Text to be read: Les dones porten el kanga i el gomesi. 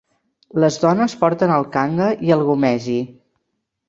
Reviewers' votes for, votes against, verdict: 2, 0, accepted